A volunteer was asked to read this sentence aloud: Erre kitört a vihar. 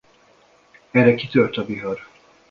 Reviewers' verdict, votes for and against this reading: accepted, 2, 0